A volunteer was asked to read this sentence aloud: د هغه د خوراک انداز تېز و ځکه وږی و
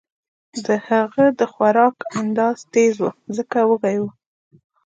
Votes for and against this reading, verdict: 0, 2, rejected